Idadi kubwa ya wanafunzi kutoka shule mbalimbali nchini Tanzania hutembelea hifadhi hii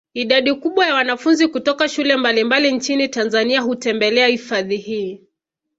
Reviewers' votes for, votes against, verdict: 2, 0, accepted